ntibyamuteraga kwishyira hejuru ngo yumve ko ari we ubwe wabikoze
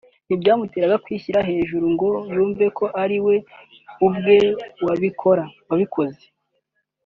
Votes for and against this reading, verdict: 0, 2, rejected